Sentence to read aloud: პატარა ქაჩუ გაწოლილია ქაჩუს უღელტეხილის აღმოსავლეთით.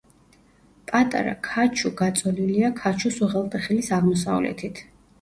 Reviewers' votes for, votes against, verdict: 2, 0, accepted